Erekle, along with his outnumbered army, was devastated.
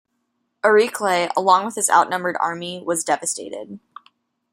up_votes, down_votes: 0, 2